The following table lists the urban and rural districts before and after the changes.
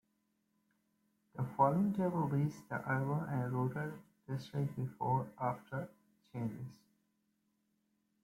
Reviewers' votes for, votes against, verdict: 1, 2, rejected